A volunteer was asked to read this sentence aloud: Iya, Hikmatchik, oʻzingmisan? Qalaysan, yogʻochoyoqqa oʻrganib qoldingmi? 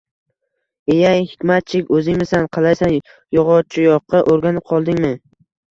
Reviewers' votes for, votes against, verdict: 0, 2, rejected